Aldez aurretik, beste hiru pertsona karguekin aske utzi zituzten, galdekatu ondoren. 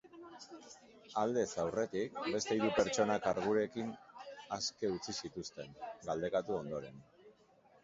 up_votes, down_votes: 1, 2